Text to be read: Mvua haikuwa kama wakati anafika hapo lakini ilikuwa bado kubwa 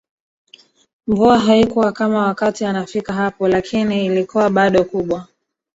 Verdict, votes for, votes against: rejected, 1, 2